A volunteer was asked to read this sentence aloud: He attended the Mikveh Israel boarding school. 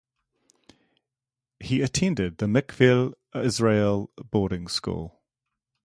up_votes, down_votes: 0, 2